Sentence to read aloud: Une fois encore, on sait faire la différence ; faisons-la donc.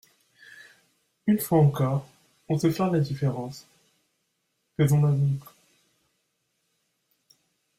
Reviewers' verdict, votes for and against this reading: accepted, 2, 0